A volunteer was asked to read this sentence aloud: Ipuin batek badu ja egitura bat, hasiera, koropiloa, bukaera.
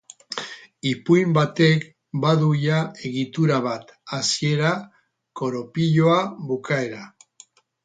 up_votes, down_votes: 2, 2